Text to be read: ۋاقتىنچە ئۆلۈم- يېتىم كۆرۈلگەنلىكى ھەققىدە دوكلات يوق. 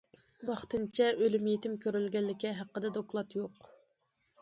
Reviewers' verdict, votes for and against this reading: accepted, 2, 0